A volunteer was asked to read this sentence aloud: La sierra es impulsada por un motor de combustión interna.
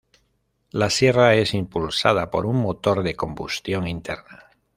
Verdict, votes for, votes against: rejected, 0, 2